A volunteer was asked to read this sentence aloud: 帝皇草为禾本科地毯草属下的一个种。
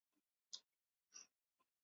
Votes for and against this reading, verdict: 0, 2, rejected